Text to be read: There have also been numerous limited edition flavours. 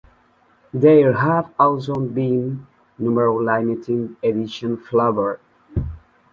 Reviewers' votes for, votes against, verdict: 0, 2, rejected